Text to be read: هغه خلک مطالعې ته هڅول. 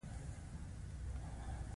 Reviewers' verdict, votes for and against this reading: accepted, 2, 1